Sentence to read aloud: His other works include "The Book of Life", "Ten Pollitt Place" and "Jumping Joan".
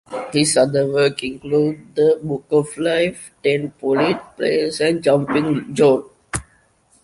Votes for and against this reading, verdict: 0, 2, rejected